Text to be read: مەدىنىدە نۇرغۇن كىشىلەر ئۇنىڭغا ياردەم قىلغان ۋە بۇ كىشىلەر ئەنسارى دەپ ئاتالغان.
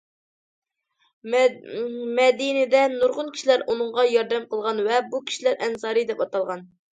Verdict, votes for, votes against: accepted, 2, 1